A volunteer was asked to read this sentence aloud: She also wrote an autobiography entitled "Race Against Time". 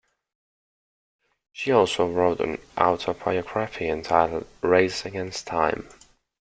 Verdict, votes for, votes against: accepted, 2, 0